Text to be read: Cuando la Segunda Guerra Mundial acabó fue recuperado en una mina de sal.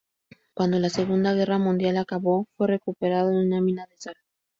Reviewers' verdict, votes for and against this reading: rejected, 0, 2